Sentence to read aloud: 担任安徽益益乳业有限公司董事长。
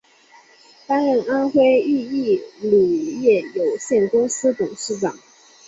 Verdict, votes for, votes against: accepted, 2, 0